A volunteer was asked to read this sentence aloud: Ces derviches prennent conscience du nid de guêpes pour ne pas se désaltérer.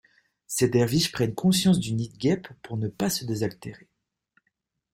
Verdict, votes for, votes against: accepted, 2, 0